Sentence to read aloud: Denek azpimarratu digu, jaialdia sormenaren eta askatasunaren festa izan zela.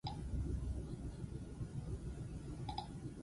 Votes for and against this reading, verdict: 0, 4, rejected